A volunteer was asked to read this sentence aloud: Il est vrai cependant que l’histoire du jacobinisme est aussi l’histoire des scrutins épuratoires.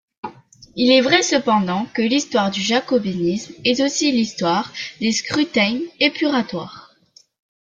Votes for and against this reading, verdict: 2, 0, accepted